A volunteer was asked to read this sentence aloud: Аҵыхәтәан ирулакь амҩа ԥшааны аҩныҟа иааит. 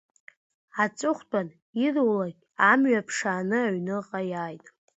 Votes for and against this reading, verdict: 2, 1, accepted